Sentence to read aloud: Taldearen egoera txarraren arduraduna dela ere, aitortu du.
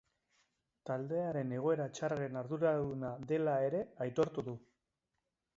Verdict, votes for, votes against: accepted, 2, 0